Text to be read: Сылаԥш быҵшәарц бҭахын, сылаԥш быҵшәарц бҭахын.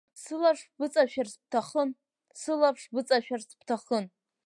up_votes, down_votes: 1, 2